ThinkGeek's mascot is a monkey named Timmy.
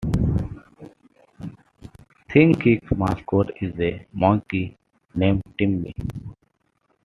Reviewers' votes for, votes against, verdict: 2, 1, accepted